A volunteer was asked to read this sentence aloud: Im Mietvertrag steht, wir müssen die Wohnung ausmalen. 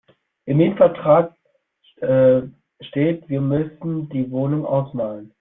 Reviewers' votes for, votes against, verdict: 0, 2, rejected